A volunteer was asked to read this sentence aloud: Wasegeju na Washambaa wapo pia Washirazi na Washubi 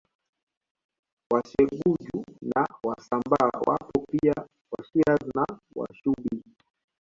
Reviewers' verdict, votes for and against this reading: accepted, 2, 0